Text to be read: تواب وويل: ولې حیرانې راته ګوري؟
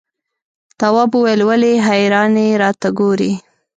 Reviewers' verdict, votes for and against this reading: rejected, 1, 2